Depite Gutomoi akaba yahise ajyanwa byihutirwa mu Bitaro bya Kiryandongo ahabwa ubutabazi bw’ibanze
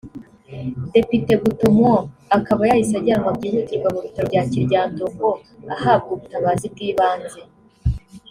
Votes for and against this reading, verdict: 0, 2, rejected